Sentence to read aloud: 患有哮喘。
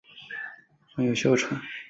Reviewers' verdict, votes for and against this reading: rejected, 2, 2